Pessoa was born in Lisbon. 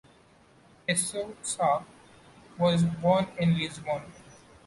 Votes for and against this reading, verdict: 0, 2, rejected